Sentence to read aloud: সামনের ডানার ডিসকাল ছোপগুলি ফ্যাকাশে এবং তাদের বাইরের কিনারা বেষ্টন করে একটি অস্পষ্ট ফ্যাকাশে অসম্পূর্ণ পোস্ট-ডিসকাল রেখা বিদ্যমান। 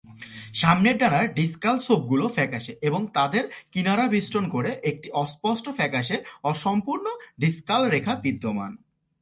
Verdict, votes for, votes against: rejected, 0, 2